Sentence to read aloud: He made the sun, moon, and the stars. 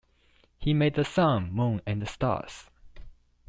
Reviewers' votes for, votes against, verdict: 2, 0, accepted